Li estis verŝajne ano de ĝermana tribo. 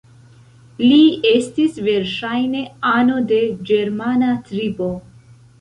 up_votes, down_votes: 2, 0